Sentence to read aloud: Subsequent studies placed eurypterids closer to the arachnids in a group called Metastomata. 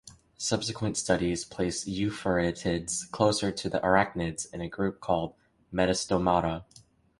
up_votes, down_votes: 1, 2